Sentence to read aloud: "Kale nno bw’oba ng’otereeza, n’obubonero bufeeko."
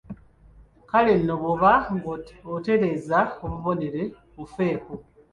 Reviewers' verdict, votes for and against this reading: rejected, 1, 2